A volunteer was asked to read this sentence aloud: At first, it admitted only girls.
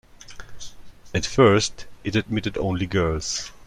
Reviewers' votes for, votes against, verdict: 2, 0, accepted